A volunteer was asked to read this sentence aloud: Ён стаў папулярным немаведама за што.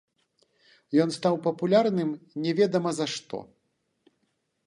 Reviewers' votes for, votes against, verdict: 1, 2, rejected